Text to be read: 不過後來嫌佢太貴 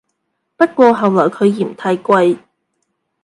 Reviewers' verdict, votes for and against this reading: rejected, 1, 2